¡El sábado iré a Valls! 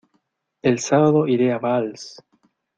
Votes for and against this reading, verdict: 2, 0, accepted